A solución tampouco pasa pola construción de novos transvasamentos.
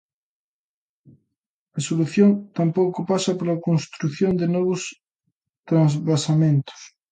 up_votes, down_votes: 2, 0